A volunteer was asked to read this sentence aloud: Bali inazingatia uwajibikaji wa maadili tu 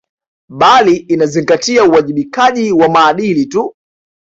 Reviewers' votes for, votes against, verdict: 2, 0, accepted